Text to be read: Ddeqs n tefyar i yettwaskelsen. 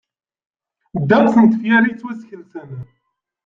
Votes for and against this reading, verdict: 1, 2, rejected